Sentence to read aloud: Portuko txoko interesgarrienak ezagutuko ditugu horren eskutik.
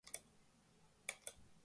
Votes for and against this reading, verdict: 0, 3, rejected